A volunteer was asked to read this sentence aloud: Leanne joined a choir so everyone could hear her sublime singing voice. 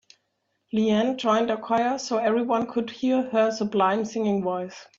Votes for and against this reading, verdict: 3, 0, accepted